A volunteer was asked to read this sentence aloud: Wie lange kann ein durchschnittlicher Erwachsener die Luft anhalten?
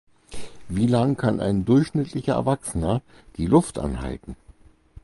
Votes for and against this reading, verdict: 2, 4, rejected